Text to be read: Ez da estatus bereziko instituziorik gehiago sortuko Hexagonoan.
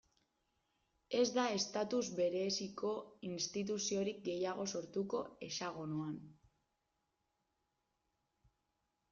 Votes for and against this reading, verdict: 1, 2, rejected